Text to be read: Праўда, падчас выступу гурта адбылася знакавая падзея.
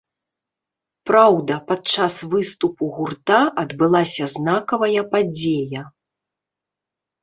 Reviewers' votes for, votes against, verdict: 0, 2, rejected